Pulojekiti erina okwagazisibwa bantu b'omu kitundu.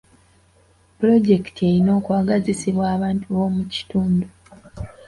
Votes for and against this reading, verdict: 2, 0, accepted